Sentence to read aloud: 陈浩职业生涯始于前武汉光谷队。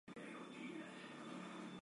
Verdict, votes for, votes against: rejected, 0, 3